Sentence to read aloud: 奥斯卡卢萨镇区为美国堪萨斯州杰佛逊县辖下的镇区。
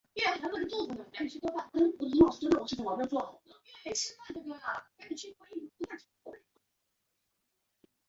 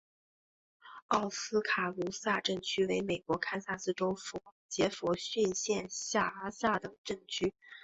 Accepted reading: second